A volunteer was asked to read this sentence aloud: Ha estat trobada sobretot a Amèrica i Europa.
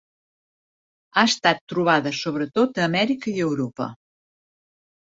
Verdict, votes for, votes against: accepted, 4, 0